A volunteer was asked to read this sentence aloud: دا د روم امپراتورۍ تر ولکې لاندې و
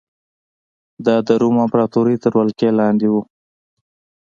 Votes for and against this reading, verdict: 2, 0, accepted